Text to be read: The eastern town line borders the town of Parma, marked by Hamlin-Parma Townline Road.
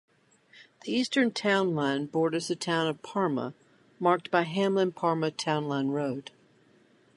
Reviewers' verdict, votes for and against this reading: accepted, 4, 0